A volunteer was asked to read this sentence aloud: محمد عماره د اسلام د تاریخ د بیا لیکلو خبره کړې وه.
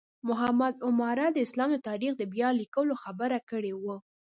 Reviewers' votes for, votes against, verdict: 2, 1, accepted